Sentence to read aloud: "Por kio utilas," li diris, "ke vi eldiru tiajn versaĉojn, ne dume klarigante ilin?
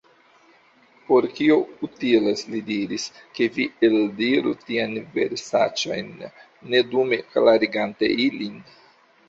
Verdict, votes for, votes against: accepted, 2, 1